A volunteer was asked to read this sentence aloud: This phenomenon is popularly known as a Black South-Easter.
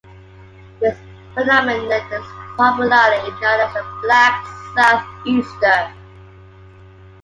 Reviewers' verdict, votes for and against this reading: accepted, 3, 2